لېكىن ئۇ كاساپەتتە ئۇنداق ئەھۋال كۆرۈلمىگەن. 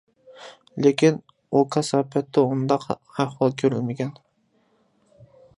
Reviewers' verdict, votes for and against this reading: rejected, 0, 2